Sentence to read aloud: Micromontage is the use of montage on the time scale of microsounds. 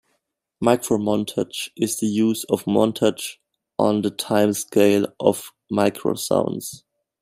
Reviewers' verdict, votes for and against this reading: rejected, 1, 2